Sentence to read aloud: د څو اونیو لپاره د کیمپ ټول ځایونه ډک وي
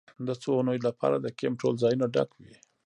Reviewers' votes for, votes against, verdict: 1, 2, rejected